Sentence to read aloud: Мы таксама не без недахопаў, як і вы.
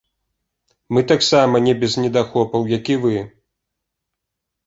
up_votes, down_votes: 2, 0